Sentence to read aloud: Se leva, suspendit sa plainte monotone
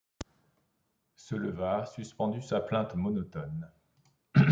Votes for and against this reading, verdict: 0, 2, rejected